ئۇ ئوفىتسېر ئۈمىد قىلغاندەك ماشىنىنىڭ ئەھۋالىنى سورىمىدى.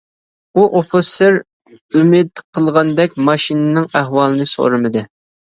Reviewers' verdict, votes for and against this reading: accepted, 2, 0